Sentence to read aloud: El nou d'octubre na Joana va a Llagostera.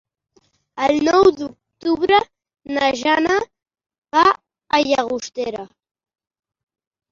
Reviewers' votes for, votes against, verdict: 0, 2, rejected